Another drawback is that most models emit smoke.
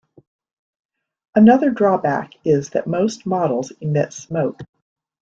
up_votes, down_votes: 2, 0